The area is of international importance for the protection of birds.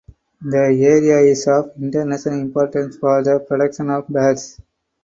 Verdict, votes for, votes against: accepted, 4, 2